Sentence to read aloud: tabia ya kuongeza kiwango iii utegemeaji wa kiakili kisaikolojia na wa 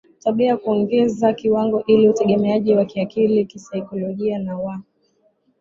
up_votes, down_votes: 9, 3